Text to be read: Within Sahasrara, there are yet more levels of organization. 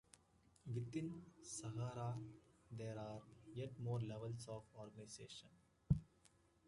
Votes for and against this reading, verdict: 2, 1, accepted